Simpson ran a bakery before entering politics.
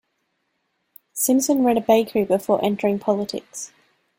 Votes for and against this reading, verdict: 2, 0, accepted